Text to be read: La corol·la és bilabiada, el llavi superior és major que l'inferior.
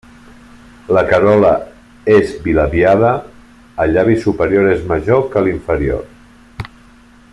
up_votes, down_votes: 1, 2